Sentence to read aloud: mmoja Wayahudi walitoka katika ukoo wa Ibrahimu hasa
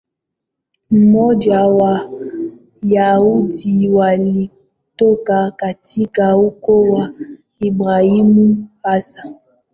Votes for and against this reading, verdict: 0, 2, rejected